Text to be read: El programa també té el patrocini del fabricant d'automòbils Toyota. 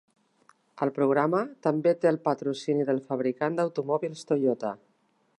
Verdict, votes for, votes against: accepted, 2, 0